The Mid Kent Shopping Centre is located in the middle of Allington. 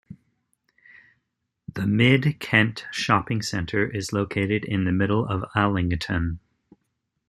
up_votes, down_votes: 2, 0